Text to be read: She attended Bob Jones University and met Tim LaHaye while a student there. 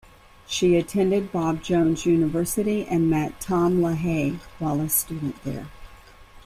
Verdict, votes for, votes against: rejected, 0, 2